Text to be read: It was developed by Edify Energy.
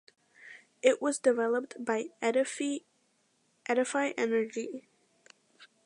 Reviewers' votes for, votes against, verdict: 0, 2, rejected